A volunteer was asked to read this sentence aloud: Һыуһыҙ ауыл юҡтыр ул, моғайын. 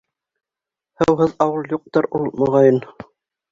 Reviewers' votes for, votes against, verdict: 2, 0, accepted